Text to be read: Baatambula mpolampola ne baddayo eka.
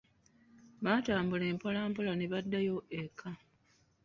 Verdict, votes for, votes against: rejected, 0, 2